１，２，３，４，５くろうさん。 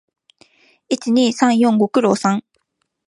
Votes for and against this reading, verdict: 0, 2, rejected